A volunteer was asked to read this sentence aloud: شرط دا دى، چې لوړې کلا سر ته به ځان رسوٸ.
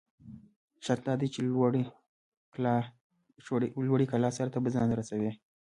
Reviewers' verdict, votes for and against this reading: rejected, 1, 2